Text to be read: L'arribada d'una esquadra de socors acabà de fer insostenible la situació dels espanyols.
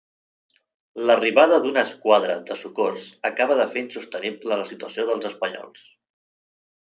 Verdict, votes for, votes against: rejected, 1, 2